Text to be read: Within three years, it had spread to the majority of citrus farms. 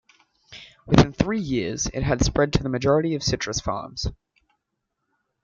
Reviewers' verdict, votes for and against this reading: rejected, 0, 2